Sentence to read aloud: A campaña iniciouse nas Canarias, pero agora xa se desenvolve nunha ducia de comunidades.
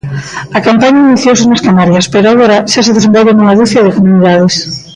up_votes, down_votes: 0, 2